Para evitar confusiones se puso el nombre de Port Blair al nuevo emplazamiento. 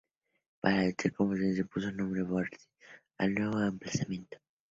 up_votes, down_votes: 0, 2